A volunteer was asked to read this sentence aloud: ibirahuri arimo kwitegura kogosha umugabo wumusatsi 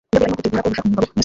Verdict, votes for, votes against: rejected, 0, 2